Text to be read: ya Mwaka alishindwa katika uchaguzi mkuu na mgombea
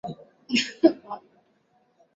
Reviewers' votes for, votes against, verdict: 0, 2, rejected